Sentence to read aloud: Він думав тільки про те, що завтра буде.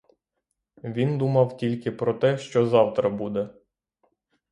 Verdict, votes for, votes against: rejected, 0, 3